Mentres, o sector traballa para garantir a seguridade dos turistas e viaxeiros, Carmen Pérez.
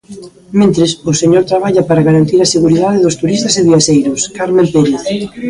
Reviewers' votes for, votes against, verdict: 0, 2, rejected